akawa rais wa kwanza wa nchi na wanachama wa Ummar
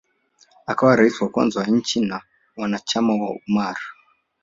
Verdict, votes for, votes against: rejected, 1, 2